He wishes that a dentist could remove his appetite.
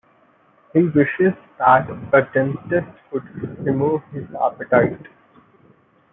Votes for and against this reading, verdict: 2, 0, accepted